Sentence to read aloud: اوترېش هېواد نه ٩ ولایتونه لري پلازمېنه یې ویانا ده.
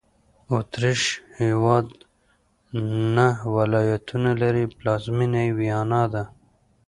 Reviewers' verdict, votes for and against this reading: rejected, 0, 2